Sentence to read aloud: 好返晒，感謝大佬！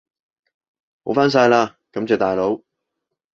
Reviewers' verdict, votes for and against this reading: rejected, 0, 2